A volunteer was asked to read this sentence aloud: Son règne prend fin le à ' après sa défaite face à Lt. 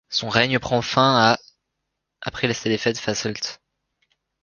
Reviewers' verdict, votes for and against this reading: rejected, 0, 3